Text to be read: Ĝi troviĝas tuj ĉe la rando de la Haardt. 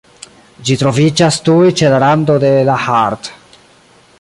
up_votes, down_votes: 2, 0